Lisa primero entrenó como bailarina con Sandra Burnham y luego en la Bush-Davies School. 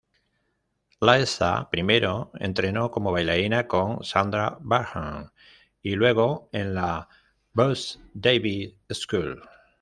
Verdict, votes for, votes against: rejected, 1, 2